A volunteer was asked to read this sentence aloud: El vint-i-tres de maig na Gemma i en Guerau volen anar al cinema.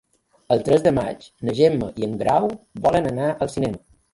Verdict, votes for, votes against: rejected, 1, 3